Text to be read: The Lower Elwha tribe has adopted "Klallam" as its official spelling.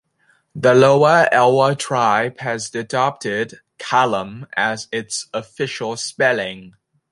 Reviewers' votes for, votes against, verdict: 0, 2, rejected